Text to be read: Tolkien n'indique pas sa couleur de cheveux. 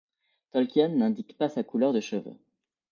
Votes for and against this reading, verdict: 2, 0, accepted